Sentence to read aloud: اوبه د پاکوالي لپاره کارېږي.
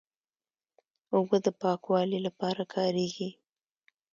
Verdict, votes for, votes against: accepted, 2, 0